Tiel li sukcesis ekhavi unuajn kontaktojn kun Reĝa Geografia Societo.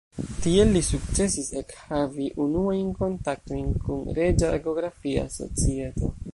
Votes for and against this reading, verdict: 1, 2, rejected